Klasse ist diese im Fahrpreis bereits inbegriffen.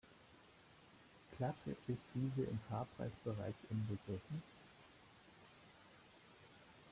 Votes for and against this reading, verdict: 2, 0, accepted